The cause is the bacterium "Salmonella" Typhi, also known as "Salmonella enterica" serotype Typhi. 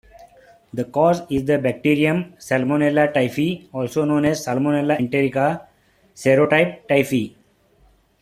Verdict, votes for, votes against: accepted, 2, 0